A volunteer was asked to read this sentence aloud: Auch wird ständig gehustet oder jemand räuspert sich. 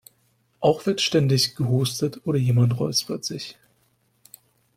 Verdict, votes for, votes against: accepted, 2, 0